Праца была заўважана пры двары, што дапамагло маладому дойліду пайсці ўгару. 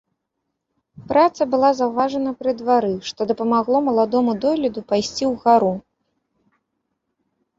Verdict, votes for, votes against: accepted, 3, 0